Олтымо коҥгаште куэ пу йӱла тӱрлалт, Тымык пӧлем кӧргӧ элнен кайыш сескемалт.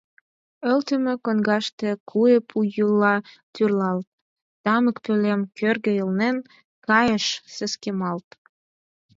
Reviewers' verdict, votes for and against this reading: rejected, 0, 6